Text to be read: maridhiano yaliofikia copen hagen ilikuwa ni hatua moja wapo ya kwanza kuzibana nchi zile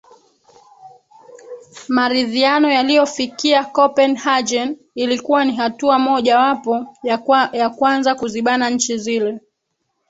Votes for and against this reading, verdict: 1, 3, rejected